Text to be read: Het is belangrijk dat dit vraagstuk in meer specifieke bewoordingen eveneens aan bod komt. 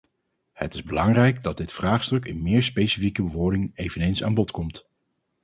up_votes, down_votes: 0, 2